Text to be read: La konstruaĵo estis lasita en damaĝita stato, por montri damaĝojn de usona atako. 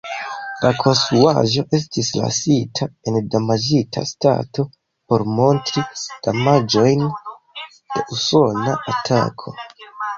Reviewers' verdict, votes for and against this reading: accepted, 2, 0